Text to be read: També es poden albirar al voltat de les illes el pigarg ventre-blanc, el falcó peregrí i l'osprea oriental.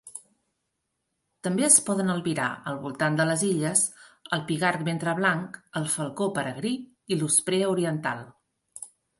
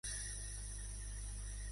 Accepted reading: first